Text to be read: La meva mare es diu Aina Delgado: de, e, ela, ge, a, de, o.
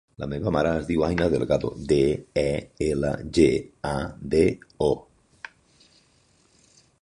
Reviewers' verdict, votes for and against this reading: accepted, 2, 1